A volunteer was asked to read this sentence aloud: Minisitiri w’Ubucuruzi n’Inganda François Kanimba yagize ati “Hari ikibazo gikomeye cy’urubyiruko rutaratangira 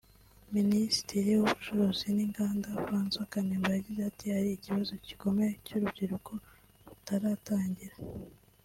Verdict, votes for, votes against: accepted, 2, 0